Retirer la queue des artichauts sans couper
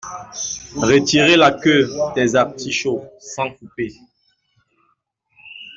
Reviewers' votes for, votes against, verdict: 2, 0, accepted